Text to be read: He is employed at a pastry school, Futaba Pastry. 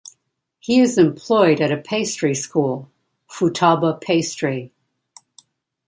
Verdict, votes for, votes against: accepted, 2, 0